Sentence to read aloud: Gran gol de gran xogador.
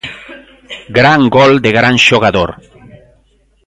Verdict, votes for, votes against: accepted, 2, 0